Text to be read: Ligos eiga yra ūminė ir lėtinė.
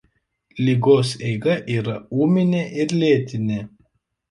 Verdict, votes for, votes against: accepted, 2, 0